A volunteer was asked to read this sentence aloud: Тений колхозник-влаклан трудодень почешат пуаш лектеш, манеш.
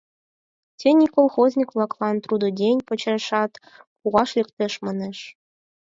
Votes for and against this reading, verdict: 4, 2, accepted